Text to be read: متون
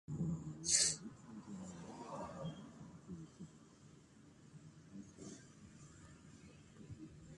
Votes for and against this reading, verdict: 0, 2, rejected